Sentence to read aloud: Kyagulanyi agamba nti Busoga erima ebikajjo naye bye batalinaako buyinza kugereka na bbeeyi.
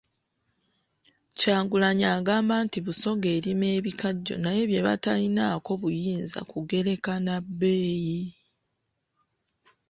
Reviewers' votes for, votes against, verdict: 1, 2, rejected